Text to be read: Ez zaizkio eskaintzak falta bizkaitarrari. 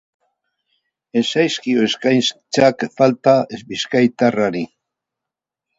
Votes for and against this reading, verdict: 0, 2, rejected